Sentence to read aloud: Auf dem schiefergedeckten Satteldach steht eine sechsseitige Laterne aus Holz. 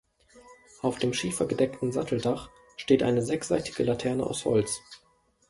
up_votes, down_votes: 2, 0